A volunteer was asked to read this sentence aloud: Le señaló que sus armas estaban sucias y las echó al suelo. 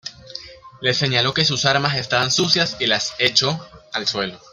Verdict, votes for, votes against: rejected, 0, 2